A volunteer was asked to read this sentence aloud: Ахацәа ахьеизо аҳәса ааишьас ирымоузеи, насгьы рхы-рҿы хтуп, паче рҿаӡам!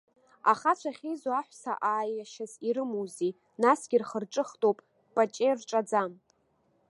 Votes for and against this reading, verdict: 2, 0, accepted